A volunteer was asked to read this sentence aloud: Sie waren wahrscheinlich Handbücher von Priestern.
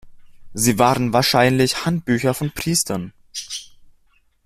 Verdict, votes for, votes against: accepted, 2, 0